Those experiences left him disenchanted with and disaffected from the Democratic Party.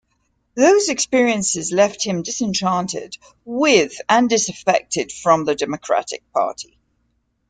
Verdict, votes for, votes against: accepted, 2, 0